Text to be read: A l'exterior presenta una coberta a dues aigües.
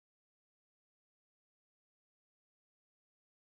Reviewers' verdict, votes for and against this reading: rejected, 0, 2